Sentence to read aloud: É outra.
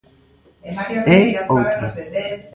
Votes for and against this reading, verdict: 2, 0, accepted